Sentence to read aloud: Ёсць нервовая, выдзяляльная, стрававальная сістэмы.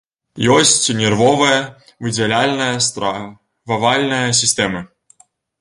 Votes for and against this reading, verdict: 1, 2, rejected